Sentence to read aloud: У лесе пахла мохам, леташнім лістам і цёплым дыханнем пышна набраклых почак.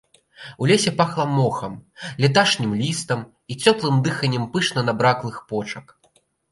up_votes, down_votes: 0, 3